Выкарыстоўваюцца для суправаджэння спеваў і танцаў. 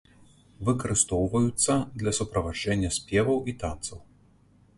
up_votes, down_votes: 2, 0